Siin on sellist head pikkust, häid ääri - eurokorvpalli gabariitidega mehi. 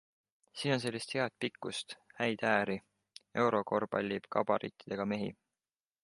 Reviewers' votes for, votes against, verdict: 2, 0, accepted